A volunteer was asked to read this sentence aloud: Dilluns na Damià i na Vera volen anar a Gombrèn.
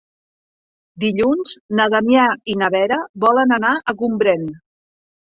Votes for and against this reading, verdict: 3, 0, accepted